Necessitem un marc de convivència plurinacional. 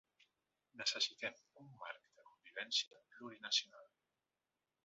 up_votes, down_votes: 4, 2